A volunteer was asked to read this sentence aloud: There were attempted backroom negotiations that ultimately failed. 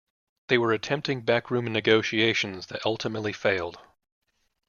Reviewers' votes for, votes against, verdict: 0, 2, rejected